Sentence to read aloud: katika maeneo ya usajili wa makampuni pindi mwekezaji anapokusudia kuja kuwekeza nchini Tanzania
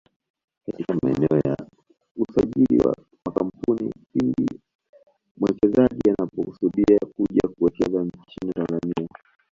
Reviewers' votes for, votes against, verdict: 1, 2, rejected